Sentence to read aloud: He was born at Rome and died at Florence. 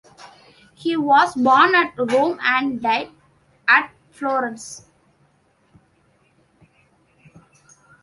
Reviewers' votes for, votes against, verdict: 2, 0, accepted